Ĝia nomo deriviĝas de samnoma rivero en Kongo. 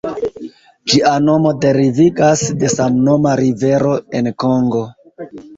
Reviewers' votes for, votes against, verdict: 2, 1, accepted